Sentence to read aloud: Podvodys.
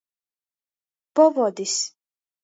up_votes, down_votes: 0, 2